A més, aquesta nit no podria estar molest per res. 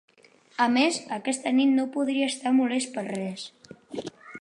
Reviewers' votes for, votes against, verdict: 0, 2, rejected